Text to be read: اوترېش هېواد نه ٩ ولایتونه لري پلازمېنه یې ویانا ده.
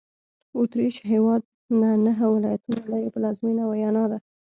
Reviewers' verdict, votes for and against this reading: rejected, 0, 2